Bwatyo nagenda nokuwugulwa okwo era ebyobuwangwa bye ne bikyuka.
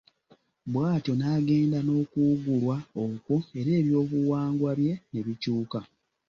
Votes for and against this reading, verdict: 2, 0, accepted